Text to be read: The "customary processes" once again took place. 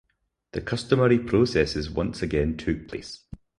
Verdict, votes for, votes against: rejected, 0, 2